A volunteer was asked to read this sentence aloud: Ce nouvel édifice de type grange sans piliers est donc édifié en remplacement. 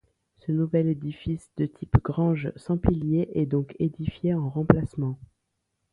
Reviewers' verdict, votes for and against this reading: accepted, 2, 0